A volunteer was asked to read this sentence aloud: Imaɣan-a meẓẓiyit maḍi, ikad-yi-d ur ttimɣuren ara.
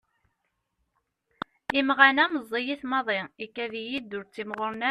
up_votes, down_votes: 0, 2